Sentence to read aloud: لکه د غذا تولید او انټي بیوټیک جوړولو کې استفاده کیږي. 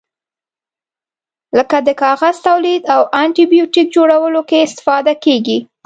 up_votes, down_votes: 1, 2